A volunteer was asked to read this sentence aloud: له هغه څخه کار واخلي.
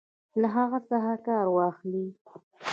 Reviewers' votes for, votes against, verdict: 2, 0, accepted